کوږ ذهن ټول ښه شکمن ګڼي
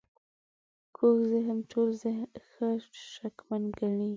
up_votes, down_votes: 0, 2